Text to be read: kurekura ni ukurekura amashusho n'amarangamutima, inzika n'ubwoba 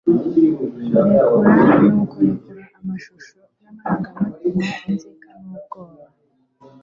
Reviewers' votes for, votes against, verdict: 0, 2, rejected